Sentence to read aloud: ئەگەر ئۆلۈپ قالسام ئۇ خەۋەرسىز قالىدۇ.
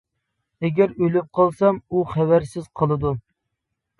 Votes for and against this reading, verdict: 2, 0, accepted